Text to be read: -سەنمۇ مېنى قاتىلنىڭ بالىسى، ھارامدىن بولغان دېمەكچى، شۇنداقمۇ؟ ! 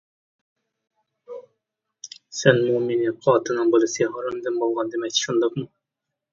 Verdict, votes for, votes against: accepted, 2, 0